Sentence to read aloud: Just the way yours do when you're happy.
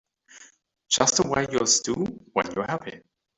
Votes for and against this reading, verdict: 1, 2, rejected